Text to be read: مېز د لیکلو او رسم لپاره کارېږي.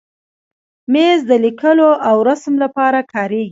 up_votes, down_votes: 2, 1